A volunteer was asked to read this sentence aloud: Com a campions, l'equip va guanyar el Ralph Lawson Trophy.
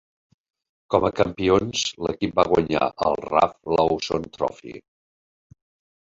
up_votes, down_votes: 3, 0